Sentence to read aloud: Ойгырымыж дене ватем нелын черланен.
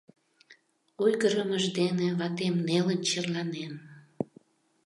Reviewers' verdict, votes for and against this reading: accepted, 2, 0